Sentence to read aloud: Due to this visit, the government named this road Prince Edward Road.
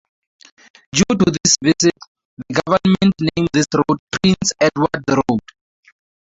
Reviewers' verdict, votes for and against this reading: rejected, 0, 2